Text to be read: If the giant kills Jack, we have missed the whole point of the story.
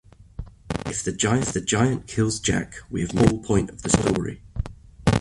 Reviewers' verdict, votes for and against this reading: rejected, 0, 2